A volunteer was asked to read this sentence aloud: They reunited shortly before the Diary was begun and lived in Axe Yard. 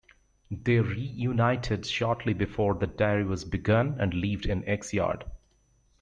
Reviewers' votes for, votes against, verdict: 2, 1, accepted